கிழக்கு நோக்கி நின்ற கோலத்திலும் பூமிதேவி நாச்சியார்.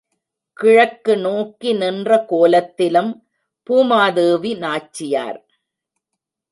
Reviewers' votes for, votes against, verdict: 1, 2, rejected